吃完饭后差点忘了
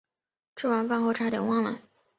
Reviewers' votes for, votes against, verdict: 7, 1, accepted